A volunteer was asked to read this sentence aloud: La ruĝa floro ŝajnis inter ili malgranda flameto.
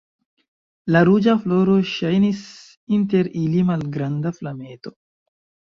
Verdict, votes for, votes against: accepted, 2, 1